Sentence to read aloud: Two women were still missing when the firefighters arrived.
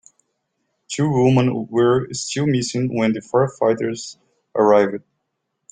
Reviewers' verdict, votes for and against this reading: rejected, 1, 2